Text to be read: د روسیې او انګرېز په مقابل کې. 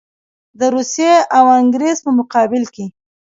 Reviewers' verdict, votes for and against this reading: accepted, 2, 0